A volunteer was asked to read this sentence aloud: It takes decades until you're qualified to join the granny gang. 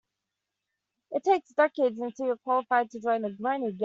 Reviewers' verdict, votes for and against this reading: rejected, 0, 2